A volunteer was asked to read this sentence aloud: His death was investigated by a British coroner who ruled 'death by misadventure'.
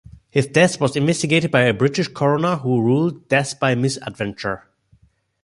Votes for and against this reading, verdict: 2, 0, accepted